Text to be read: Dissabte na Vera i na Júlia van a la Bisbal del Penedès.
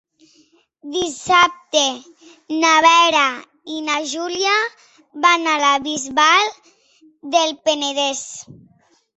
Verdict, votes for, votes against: accepted, 3, 0